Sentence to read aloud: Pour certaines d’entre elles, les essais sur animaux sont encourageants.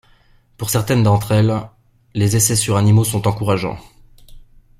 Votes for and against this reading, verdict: 2, 0, accepted